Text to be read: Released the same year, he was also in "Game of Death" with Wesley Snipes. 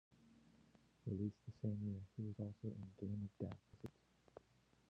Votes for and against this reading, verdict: 0, 2, rejected